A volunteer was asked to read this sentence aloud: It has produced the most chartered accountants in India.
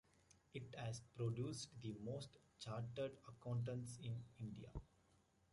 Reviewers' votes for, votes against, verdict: 2, 1, accepted